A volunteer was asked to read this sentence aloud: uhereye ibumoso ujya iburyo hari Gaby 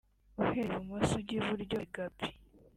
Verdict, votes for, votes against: accepted, 2, 0